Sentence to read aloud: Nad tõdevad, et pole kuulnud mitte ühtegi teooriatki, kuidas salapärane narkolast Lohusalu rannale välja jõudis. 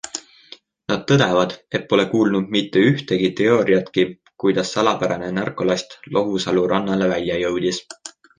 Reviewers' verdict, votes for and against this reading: accepted, 2, 1